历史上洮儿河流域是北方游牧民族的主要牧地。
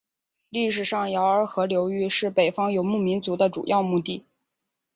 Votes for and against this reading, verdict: 2, 0, accepted